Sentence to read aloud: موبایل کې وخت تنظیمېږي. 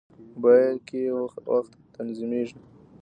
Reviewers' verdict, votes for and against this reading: rejected, 1, 2